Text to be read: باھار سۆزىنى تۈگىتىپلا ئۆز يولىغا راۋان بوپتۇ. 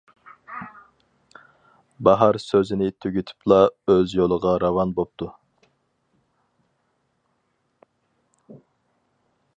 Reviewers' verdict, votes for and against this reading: accepted, 4, 0